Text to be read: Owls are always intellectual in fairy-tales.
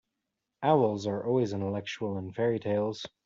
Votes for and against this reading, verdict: 2, 0, accepted